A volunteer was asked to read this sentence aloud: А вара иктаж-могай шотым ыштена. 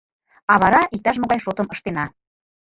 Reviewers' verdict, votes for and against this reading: rejected, 0, 2